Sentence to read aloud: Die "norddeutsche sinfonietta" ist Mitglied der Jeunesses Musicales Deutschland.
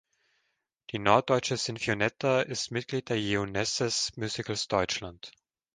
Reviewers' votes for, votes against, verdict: 1, 3, rejected